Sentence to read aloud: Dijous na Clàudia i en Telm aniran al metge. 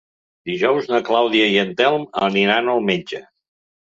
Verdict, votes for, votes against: accepted, 2, 0